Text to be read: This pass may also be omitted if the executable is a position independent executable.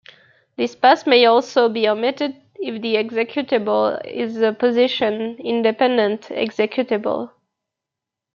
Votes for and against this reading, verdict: 2, 0, accepted